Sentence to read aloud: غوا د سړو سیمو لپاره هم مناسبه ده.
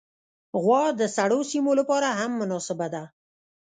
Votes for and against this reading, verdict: 2, 0, accepted